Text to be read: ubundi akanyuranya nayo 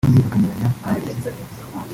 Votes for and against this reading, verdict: 1, 2, rejected